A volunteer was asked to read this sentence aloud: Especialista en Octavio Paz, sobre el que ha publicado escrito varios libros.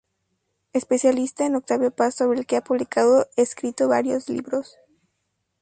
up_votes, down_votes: 2, 0